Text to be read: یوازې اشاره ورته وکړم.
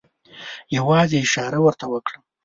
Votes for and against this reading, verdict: 1, 2, rejected